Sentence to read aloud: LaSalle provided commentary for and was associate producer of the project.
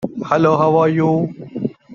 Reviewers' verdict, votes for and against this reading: rejected, 0, 2